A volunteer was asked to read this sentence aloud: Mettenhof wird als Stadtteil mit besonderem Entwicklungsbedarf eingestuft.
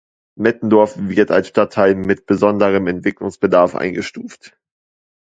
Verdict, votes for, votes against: accepted, 2, 1